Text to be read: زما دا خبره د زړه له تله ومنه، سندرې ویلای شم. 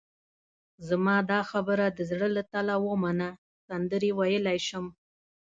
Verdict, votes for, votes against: accepted, 2, 0